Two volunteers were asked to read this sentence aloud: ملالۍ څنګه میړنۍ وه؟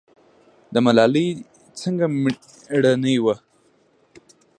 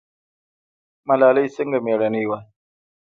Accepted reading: first